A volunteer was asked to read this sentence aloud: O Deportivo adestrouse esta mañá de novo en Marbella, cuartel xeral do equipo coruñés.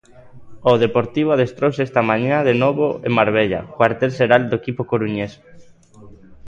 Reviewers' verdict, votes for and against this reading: rejected, 0, 2